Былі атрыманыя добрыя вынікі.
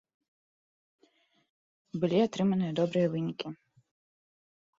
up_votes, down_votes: 3, 1